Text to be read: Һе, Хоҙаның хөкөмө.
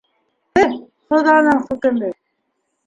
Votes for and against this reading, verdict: 0, 2, rejected